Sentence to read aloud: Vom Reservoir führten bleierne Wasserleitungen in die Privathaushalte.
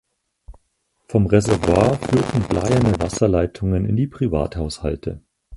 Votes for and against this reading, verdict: 2, 4, rejected